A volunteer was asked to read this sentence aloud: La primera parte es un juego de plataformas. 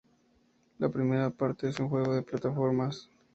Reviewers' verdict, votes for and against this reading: accepted, 2, 0